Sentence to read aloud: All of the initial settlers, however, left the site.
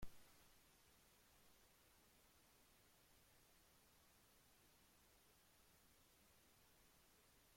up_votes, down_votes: 0, 2